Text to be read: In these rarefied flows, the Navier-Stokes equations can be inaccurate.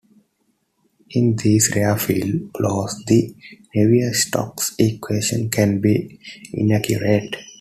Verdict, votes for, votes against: accepted, 2, 1